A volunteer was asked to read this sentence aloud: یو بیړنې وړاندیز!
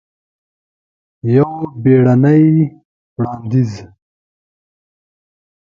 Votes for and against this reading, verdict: 1, 2, rejected